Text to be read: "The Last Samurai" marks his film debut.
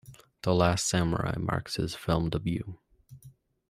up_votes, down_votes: 2, 0